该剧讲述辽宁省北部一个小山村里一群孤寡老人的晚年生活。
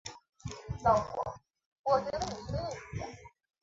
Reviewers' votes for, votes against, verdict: 0, 3, rejected